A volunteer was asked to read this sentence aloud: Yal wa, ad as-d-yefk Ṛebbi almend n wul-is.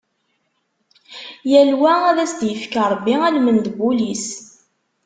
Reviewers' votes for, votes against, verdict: 2, 0, accepted